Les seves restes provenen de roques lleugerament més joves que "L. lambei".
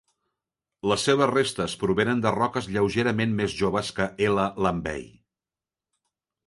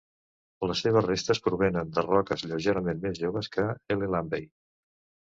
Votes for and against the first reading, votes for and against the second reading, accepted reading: 2, 0, 0, 2, first